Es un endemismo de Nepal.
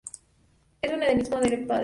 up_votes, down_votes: 2, 0